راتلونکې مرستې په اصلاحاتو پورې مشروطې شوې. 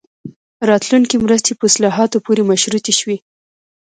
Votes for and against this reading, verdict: 2, 0, accepted